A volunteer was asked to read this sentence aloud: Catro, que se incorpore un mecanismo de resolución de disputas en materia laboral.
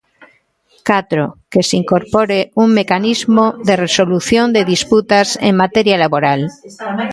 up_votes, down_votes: 2, 0